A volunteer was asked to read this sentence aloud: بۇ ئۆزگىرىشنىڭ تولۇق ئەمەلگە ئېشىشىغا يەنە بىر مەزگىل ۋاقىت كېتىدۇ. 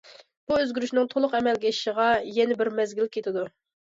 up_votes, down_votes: 0, 2